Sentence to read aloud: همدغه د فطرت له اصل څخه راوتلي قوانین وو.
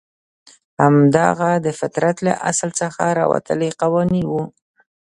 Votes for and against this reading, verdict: 1, 2, rejected